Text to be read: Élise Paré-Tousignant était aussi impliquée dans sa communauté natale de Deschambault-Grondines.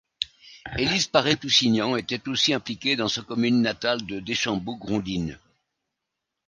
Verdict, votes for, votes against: rejected, 0, 2